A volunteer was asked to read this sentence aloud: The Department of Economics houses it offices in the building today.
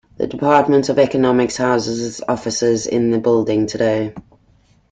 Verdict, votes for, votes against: accepted, 2, 0